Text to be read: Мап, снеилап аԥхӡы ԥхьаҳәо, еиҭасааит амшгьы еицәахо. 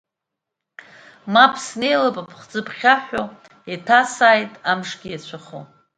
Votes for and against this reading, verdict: 1, 2, rejected